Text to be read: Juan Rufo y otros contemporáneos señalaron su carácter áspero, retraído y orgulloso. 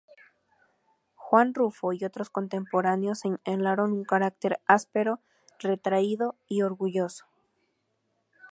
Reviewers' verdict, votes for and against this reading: rejected, 0, 2